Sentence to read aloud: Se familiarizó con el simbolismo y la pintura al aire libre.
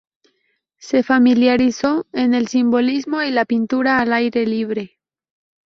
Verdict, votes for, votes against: rejected, 0, 4